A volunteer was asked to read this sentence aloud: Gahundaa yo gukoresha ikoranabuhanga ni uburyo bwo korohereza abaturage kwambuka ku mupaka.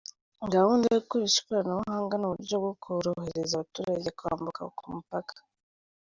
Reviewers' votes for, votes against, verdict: 2, 0, accepted